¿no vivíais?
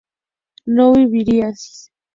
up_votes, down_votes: 0, 2